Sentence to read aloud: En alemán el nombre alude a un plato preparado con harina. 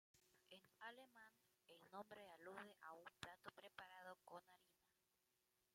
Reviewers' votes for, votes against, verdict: 0, 2, rejected